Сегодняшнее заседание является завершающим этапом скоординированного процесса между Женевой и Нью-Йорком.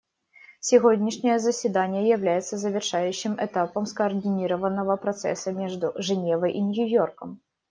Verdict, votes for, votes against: accepted, 2, 0